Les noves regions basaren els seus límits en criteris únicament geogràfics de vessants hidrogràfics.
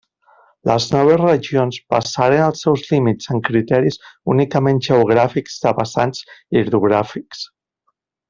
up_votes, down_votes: 2, 1